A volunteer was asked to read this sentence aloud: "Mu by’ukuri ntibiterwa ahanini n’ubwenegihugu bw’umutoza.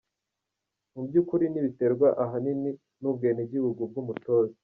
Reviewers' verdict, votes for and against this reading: accepted, 2, 0